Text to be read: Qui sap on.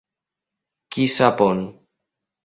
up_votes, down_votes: 3, 0